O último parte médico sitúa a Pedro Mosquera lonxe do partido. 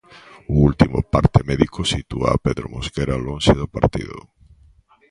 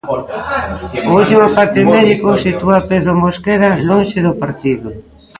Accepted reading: first